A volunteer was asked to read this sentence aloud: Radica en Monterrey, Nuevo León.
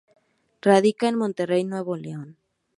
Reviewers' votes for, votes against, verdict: 2, 0, accepted